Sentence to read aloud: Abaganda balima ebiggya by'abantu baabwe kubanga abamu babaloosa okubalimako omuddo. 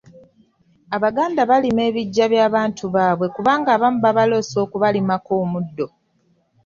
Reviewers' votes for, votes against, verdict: 2, 0, accepted